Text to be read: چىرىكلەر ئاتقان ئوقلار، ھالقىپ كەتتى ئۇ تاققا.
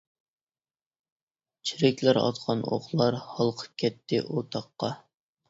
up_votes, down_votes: 2, 0